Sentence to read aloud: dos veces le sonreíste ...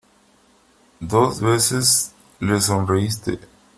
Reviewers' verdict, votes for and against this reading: accepted, 2, 0